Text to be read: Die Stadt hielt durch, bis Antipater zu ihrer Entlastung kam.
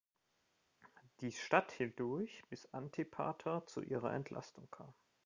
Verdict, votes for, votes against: accepted, 2, 0